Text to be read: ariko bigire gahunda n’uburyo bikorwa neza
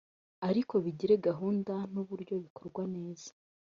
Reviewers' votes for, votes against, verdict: 2, 0, accepted